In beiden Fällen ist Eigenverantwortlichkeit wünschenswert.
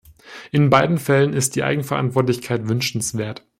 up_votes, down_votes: 1, 2